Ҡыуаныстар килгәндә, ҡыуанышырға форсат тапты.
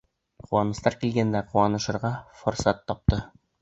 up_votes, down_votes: 2, 0